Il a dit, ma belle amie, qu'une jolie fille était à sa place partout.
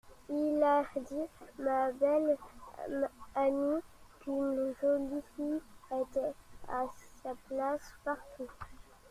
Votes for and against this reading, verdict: 2, 0, accepted